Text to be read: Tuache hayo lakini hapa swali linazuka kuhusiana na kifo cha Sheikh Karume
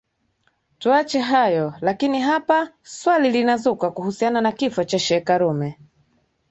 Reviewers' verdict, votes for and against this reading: accepted, 3, 0